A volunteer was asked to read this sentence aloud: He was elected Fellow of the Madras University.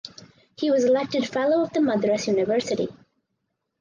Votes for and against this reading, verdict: 4, 0, accepted